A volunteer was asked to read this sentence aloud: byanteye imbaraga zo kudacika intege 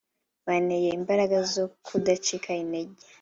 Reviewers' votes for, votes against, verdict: 2, 1, accepted